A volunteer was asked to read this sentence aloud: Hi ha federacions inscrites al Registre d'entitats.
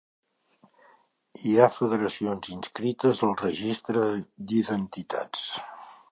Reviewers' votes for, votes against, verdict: 1, 2, rejected